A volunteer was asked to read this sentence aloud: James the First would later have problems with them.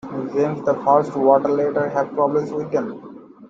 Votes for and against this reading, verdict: 1, 2, rejected